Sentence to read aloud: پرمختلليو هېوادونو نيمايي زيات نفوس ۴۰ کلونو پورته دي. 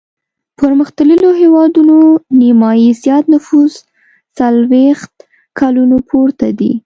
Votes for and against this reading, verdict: 0, 2, rejected